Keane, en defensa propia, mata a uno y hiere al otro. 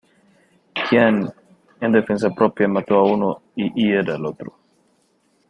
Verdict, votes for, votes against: rejected, 0, 2